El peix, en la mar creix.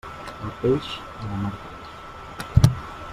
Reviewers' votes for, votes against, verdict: 1, 2, rejected